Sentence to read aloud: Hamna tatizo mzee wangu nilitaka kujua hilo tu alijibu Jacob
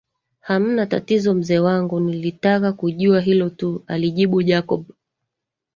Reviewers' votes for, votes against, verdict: 4, 1, accepted